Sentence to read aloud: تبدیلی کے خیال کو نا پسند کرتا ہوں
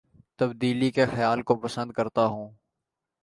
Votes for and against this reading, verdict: 0, 2, rejected